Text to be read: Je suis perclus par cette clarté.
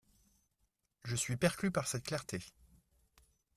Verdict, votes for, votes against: accepted, 3, 0